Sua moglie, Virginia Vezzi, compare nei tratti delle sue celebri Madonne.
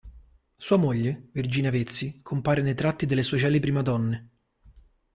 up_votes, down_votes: 2, 0